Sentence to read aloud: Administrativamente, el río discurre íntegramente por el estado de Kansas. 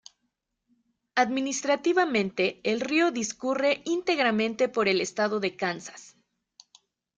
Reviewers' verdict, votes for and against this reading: accepted, 2, 0